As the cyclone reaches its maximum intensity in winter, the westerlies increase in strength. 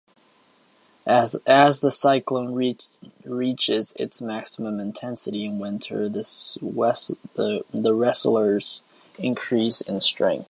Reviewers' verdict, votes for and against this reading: rejected, 0, 2